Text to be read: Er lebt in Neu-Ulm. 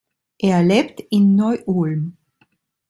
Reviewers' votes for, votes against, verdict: 2, 0, accepted